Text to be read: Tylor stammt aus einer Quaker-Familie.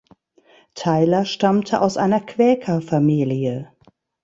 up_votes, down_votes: 1, 3